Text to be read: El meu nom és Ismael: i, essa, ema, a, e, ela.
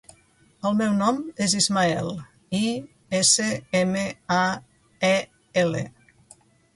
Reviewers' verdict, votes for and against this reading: rejected, 0, 2